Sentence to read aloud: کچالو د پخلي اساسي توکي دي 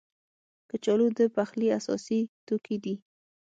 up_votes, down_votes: 6, 0